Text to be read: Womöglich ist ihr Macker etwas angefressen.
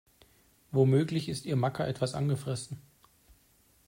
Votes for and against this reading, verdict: 2, 0, accepted